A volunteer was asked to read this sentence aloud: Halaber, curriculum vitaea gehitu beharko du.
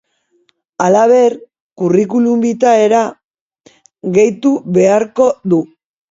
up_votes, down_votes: 2, 3